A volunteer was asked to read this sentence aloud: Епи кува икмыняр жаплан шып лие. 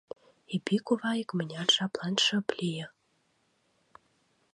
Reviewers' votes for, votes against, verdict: 2, 0, accepted